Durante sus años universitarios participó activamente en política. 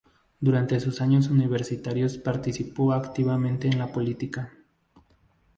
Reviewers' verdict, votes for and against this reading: accepted, 2, 0